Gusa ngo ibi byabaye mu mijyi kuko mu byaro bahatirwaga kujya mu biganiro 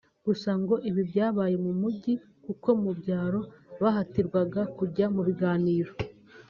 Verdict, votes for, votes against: accepted, 3, 0